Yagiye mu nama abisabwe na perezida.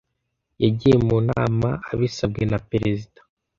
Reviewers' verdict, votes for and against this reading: accepted, 2, 0